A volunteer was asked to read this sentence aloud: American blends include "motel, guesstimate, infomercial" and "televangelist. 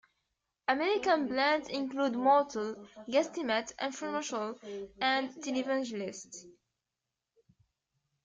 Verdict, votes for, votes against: accepted, 2, 0